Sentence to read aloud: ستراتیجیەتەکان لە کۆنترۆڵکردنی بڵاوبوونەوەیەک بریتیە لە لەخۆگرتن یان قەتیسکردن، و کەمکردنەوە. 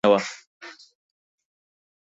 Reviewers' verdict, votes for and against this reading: rejected, 0, 4